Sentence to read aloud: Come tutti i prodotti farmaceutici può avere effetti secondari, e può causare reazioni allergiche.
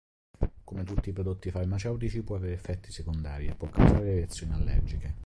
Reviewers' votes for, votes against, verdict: 2, 3, rejected